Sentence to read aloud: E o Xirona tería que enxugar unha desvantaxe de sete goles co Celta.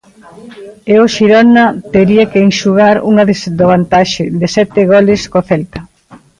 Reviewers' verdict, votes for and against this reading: rejected, 0, 2